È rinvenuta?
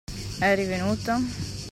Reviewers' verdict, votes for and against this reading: rejected, 1, 2